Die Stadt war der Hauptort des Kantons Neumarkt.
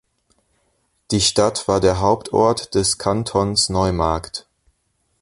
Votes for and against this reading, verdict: 1, 2, rejected